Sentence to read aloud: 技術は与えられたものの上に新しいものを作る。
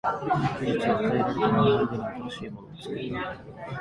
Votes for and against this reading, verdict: 0, 2, rejected